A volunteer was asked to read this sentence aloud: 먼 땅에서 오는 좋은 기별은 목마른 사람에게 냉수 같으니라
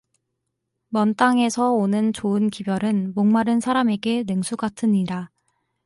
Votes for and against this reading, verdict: 4, 0, accepted